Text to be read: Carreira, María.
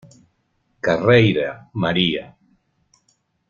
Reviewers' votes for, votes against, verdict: 2, 0, accepted